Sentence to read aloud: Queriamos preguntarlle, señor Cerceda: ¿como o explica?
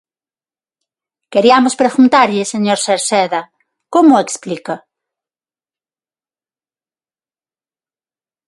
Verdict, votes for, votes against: rejected, 0, 6